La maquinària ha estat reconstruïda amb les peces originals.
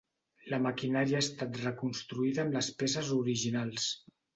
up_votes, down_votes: 2, 0